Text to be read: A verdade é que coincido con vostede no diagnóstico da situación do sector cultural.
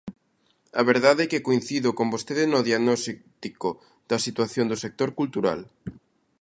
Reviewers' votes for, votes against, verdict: 0, 2, rejected